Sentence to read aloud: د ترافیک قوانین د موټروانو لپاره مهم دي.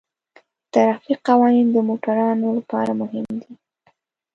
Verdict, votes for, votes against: rejected, 1, 2